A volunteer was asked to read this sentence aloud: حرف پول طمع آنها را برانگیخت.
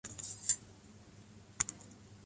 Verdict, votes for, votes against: rejected, 0, 2